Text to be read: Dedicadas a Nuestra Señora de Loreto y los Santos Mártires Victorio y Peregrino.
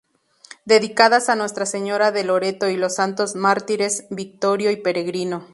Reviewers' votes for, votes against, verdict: 2, 0, accepted